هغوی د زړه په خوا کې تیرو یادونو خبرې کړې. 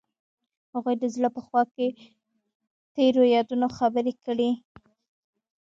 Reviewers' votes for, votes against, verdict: 0, 2, rejected